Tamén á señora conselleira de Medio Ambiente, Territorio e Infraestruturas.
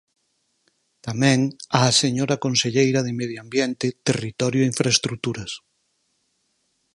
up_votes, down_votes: 4, 0